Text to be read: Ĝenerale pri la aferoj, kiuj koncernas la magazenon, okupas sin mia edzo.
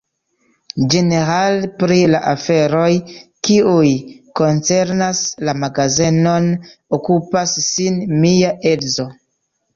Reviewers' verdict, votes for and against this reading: rejected, 1, 2